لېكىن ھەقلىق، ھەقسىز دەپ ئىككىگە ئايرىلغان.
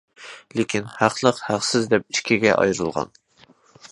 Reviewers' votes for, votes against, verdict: 2, 0, accepted